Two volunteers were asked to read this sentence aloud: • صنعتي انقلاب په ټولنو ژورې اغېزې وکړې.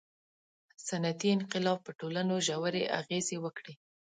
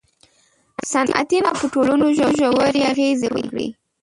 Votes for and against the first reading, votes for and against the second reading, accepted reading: 2, 0, 0, 2, first